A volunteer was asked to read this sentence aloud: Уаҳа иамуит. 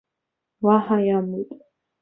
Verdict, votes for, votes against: accepted, 2, 0